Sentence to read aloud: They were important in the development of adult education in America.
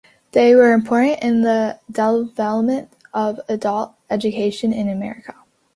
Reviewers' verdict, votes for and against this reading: accepted, 2, 1